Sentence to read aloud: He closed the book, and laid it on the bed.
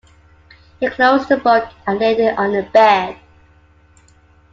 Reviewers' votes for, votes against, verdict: 2, 0, accepted